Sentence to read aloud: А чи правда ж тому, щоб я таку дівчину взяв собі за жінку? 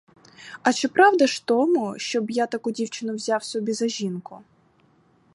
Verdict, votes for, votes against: accepted, 4, 0